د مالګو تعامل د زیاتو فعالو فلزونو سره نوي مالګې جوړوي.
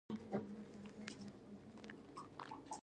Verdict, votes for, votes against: rejected, 0, 2